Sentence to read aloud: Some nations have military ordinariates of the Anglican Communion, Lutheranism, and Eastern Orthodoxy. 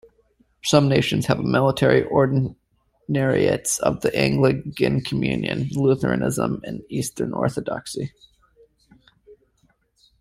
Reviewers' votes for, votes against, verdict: 2, 1, accepted